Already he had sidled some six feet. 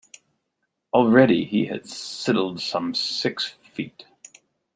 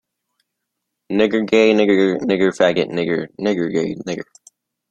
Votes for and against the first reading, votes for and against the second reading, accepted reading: 2, 0, 0, 2, first